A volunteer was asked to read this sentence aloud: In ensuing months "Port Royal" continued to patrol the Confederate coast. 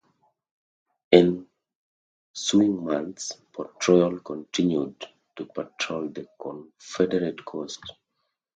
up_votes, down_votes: 0, 2